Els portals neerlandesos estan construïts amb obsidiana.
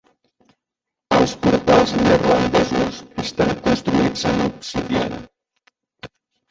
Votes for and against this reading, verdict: 0, 2, rejected